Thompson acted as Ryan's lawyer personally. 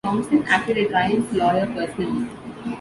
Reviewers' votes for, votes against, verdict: 1, 2, rejected